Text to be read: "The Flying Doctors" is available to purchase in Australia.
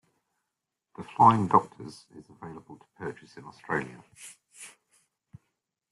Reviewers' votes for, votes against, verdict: 0, 2, rejected